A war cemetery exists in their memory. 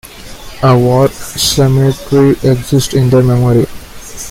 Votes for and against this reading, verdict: 2, 1, accepted